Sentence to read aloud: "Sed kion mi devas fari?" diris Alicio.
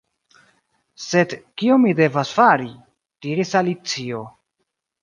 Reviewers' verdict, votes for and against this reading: accepted, 2, 0